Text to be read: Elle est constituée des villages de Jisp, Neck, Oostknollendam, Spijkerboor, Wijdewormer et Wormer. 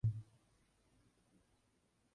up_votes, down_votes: 0, 2